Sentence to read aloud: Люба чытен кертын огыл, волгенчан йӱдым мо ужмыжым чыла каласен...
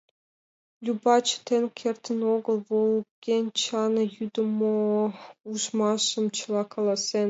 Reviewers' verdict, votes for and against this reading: rejected, 0, 2